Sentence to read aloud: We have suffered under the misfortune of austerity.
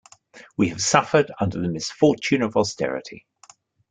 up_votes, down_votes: 2, 0